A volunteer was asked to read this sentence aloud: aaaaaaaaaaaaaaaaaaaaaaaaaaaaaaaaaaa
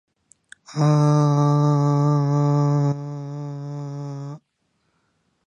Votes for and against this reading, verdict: 3, 1, accepted